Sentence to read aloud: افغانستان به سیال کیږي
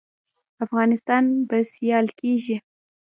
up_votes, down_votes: 1, 2